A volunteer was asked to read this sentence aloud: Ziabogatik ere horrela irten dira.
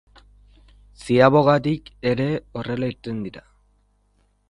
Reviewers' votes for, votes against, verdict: 3, 0, accepted